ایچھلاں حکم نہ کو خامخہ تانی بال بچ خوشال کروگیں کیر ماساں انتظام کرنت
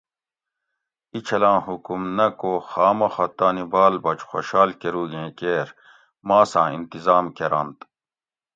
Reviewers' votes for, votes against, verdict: 2, 0, accepted